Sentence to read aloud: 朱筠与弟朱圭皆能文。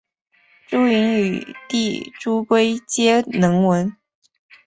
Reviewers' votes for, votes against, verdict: 2, 0, accepted